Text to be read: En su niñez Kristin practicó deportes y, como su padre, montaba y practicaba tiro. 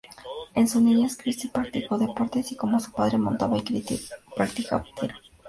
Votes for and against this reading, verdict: 2, 0, accepted